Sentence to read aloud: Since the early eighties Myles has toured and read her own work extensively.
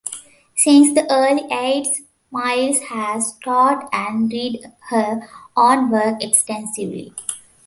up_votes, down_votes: 0, 2